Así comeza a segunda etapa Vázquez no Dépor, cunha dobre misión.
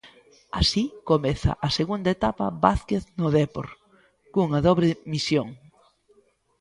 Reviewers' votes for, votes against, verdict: 2, 1, accepted